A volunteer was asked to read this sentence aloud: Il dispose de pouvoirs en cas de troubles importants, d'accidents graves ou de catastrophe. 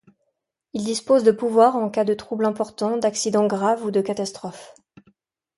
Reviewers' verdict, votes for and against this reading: accepted, 2, 0